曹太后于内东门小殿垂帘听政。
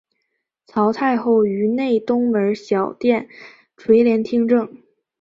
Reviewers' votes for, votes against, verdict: 0, 2, rejected